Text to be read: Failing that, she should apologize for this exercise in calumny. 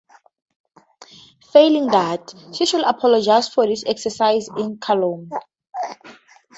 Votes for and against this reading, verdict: 2, 0, accepted